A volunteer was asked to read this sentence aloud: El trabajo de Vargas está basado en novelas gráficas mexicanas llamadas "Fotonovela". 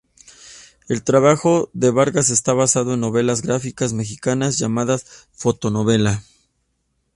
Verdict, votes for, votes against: accepted, 2, 0